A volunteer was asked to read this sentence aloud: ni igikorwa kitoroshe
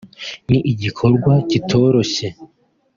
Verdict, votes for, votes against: rejected, 0, 2